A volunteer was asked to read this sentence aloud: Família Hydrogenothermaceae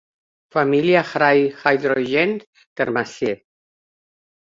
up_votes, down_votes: 1, 2